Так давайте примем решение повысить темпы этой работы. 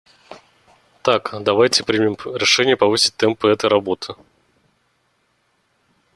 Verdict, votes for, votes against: rejected, 1, 2